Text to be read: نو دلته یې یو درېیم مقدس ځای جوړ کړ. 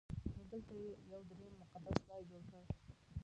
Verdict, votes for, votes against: rejected, 0, 2